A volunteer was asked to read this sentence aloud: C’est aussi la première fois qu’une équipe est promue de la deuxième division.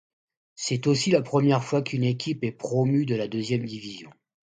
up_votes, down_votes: 2, 0